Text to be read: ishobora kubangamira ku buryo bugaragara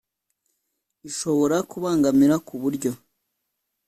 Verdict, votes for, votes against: rejected, 2, 3